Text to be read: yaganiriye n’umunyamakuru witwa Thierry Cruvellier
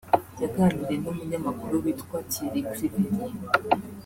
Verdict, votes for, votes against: accepted, 4, 0